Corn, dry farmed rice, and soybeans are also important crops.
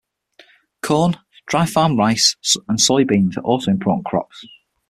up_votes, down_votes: 0, 6